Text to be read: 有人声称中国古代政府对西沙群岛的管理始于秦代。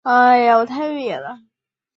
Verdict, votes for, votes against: rejected, 1, 8